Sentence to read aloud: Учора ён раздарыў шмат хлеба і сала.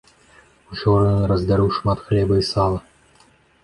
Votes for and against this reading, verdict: 1, 2, rejected